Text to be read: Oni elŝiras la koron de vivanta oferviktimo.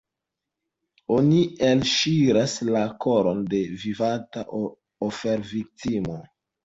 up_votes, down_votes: 2, 0